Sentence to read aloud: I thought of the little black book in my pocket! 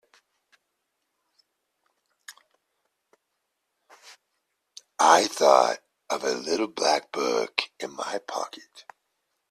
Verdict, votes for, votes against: rejected, 1, 2